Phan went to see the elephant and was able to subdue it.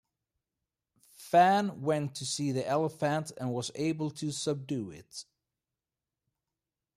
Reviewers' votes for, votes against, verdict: 0, 2, rejected